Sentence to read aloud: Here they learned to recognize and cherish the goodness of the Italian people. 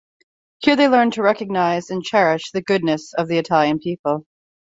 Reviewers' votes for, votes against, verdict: 2, 0, accepted